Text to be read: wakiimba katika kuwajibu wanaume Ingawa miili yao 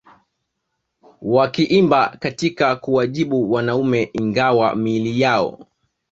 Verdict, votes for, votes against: accepted, 2, 0